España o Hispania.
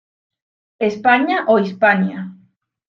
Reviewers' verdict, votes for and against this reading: rejected, 0, 2